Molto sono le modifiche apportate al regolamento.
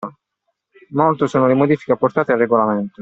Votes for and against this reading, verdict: 2, 0, accepted